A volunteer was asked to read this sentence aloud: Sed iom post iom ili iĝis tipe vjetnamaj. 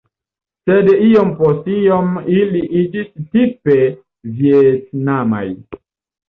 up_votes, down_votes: 1, 2